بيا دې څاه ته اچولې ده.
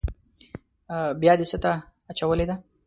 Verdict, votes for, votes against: rejected, 1, 2